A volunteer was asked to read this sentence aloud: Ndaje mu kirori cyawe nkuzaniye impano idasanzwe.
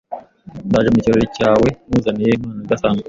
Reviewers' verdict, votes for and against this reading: accepted, 2, 1